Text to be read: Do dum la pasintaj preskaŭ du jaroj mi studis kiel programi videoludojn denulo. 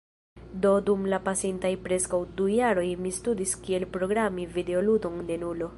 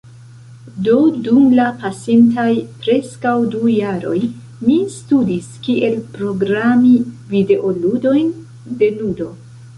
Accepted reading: second